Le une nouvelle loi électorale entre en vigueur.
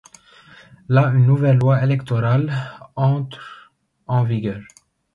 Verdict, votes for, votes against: rejected, 0, 2